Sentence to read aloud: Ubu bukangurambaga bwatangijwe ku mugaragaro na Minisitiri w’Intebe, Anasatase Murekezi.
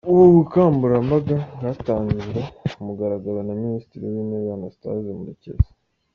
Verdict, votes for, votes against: accepted, 2, 1